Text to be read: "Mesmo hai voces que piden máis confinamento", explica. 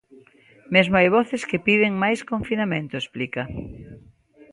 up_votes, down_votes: 3, 0